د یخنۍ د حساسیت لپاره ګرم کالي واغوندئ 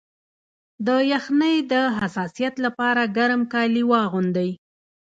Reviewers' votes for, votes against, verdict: 2, 0, accepted